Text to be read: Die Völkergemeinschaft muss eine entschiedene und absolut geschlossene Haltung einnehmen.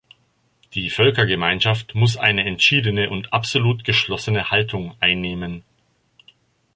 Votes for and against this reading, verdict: 2, 0, accepted